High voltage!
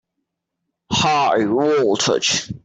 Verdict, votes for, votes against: rejected, 1, 2